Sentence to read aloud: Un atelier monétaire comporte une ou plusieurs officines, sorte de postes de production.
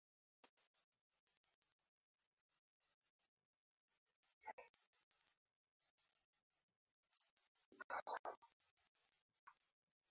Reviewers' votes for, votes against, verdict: 0, 2, rejected